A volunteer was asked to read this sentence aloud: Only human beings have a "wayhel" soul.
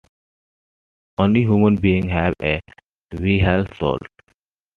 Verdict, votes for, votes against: accepted, 2, 0